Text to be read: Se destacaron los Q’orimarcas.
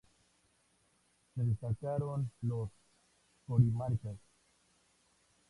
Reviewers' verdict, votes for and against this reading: accepted, 2, 0